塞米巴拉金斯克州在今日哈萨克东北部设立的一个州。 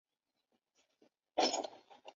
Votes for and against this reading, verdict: 1, 2, rejected